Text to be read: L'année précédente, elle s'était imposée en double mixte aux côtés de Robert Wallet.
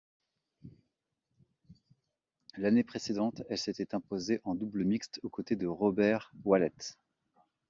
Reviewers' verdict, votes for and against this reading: accepted, 2, 0